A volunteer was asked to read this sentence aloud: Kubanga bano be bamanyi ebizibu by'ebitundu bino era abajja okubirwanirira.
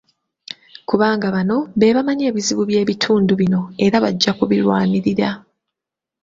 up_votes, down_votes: 0, 2